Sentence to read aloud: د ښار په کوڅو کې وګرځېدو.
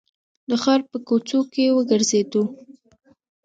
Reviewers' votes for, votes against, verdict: 3, 0, accepted